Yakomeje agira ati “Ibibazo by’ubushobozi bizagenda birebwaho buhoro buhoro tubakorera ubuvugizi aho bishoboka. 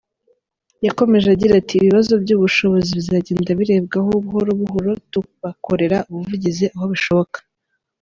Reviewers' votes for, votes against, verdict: 0, 2, rejected